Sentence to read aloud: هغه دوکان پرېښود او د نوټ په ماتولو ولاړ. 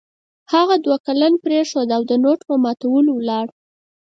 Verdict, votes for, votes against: rejected, 0, 4